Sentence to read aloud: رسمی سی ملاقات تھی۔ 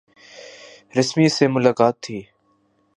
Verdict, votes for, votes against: accepted, 5, 0